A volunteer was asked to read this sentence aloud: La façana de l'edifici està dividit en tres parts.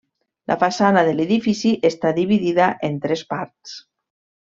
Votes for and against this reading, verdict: 1, 2, rejected